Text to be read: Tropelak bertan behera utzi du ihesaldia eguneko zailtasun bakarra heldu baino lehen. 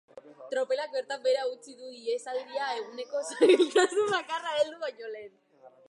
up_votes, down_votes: 0, 3